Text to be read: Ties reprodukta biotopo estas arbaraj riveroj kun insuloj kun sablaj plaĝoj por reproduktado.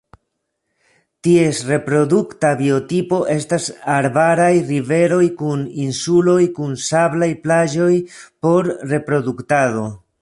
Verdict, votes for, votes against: rejected, 0, 2